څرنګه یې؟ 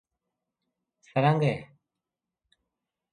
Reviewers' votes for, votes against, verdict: 2, 0, accepted